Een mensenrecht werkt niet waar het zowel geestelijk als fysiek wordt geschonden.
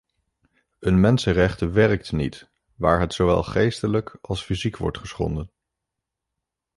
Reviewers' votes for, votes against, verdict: 0, 2, rejected